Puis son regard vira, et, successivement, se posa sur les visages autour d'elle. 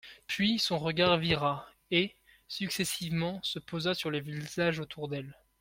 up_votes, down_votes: 0, 2